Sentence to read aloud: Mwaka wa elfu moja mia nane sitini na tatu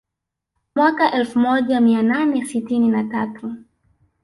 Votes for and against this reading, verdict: 2, 1, accepted